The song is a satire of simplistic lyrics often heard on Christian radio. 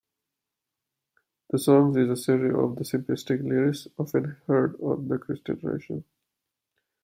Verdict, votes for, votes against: rejected, 0, 2